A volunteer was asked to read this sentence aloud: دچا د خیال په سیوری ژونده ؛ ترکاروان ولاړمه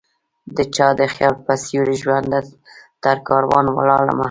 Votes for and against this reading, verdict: 1, 2, rejected